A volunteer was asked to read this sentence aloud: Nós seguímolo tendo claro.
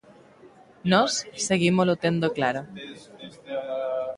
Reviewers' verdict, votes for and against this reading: accepted, 2, 0